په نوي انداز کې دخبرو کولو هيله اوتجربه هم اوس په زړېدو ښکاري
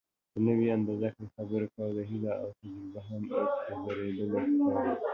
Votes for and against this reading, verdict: 1, 3, rejected